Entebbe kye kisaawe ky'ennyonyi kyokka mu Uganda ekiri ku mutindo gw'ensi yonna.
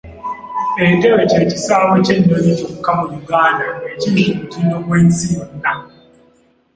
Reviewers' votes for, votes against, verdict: 1, 2, rejected